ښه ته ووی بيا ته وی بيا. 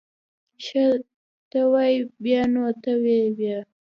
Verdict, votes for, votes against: rejected, 0, 2